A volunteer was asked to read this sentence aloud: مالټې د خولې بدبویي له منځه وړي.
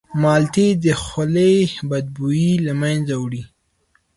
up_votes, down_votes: 2, 0